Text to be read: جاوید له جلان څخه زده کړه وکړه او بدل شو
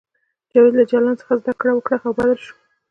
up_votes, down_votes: 2, 0